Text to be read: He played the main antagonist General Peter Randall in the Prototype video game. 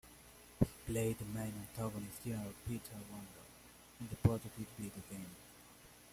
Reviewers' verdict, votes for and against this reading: rejected, 1, 2